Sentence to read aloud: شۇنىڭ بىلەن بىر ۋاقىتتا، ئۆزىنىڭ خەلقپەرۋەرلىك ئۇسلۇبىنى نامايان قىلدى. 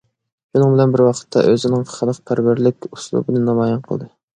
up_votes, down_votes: 2, 0